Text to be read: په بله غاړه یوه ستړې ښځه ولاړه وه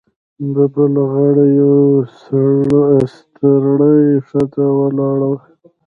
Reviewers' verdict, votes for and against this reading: rejected, 0, 2